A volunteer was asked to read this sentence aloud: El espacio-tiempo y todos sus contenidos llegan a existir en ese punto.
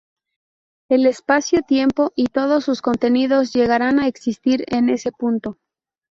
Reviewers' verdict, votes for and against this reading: rejected, 0, 2